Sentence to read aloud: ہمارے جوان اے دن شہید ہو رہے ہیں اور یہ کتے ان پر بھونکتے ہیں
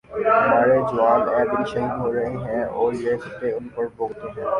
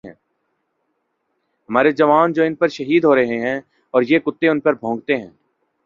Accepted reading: second